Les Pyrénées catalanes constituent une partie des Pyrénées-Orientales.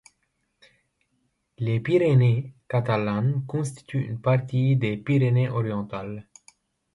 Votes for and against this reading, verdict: 1, 2, rejected